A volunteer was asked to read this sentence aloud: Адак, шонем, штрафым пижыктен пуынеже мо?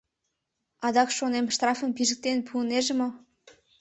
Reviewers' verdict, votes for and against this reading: accepted, 2, 0